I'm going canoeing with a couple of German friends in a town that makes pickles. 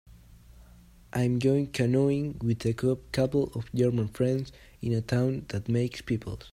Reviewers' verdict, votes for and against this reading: rejected, 0, 2